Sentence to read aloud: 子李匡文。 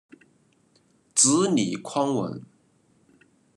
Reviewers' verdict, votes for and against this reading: accepted, 2, 0